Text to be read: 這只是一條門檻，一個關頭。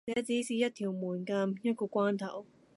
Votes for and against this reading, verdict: 0, 2, rejected